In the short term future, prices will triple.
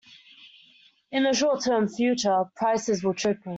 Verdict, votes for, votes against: accepted, 2, 0